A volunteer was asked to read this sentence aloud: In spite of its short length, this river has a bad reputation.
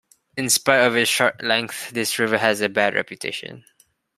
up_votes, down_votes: 2, 1